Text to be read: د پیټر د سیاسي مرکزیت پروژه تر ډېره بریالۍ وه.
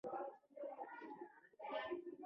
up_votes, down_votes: 0, 2